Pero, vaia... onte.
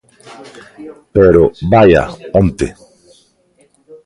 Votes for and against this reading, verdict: 1, 2, rejected